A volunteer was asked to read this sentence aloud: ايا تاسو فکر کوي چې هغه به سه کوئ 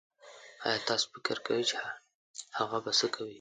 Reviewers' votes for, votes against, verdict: 0, 2, rejected